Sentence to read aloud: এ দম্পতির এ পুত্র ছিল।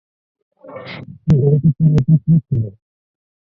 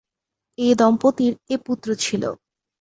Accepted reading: second